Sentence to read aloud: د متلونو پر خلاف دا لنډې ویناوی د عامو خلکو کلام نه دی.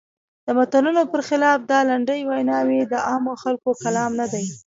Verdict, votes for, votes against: rejected, 1, 2